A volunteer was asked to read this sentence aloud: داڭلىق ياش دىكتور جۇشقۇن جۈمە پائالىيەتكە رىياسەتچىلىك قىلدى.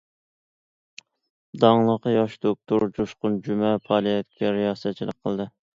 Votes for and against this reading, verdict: 1, 2, rejected